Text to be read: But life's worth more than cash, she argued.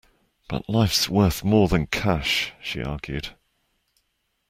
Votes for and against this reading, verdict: 2, 0, accepted